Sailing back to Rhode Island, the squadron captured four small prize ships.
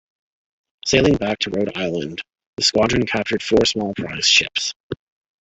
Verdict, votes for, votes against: accepted, 2, 0